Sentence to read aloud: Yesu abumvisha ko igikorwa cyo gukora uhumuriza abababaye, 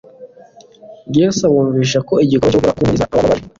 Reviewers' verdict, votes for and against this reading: rejected, 1, 2